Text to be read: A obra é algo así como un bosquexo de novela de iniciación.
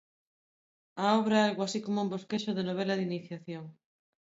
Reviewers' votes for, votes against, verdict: 2, 0, accepted